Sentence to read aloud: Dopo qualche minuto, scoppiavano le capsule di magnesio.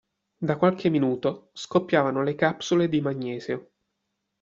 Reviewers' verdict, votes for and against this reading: rejected, 0, 2